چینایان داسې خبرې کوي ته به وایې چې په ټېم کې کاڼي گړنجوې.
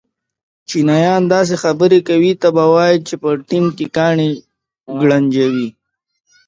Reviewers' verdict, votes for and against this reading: accepted, 2, 0